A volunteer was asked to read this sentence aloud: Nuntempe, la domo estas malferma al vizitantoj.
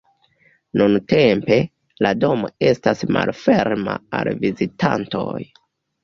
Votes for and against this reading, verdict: 1, 2, rejected